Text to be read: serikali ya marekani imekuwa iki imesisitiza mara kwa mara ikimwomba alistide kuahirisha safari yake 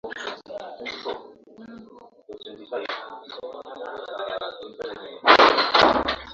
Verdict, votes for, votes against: rejected, 0, 2